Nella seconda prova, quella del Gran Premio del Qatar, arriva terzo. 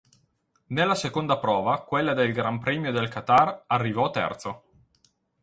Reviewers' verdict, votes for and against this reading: rejected, 2, 4